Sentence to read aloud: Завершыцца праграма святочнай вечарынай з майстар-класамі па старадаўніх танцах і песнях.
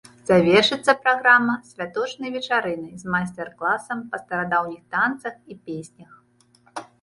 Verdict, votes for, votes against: rejected, 1, 2